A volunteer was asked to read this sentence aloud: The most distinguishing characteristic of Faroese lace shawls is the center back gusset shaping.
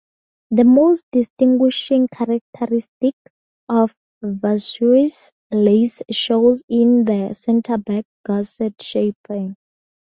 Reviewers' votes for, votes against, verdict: 0, 2, rejected